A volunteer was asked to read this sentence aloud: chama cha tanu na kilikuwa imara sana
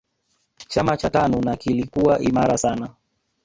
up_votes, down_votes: 0, 2